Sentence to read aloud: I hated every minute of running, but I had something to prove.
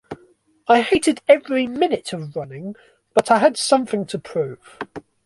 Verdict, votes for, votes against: accepted, 2, 0